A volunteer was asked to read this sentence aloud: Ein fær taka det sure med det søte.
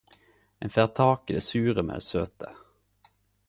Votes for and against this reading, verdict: 2, 2, rejected